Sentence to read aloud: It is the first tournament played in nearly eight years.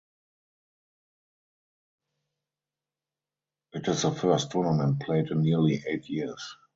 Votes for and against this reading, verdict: 0, 2, rejected